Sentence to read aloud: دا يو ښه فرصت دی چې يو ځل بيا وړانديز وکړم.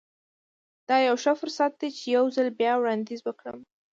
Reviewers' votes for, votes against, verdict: 1, 2, rejected